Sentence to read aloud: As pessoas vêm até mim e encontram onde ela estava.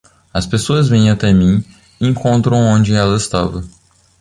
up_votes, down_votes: 2, 0